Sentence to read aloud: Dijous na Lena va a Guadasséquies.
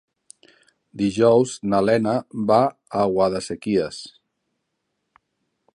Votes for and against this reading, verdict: 0, 2, rejected